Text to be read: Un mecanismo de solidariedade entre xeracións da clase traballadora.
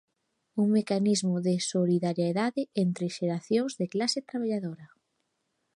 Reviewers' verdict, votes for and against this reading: accepted, 2, 1